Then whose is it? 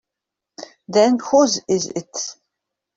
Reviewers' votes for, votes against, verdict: 3, 2, accepted